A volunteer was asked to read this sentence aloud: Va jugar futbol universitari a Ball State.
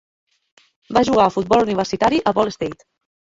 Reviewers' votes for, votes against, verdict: 0, 3, rejected